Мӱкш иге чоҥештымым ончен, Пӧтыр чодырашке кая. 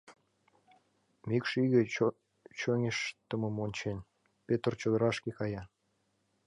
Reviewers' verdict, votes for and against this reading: rejected, 1, 2